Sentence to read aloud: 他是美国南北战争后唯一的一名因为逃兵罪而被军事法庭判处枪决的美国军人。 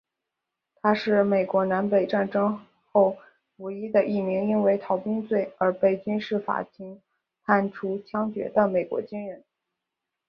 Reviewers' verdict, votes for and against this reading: accepted, 7, 1